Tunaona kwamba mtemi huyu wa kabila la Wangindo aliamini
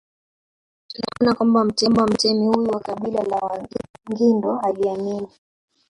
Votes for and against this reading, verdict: 0, 2, rejected